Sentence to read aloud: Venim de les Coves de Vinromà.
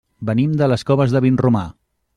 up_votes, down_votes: 3, 0